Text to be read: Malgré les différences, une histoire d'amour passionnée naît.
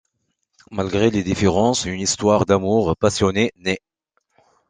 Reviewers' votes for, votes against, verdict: 2, 0, accepted